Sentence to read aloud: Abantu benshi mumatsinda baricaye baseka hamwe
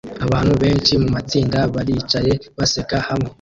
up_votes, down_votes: 2, 1